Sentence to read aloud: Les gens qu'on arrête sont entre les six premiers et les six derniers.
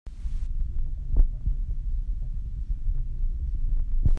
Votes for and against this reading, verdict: 0, 2, rejected